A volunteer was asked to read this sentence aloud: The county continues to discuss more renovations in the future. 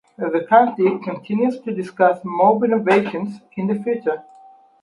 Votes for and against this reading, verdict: 4, 0, accepted